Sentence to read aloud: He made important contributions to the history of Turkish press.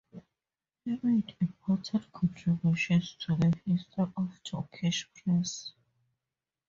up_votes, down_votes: 2, 2